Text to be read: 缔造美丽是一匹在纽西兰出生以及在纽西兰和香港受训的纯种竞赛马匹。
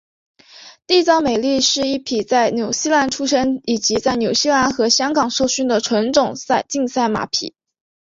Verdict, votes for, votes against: rejected, 1, 2